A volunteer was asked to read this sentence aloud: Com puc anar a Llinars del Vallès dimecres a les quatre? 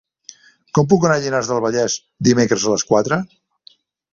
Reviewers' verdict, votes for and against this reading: rejected, 1, 2